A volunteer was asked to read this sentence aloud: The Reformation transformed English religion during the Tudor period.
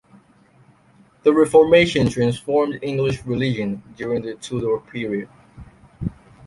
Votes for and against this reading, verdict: 2, 0, accepted